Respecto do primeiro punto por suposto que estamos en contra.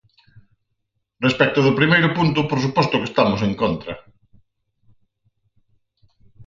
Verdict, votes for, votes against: accepted, 4, 0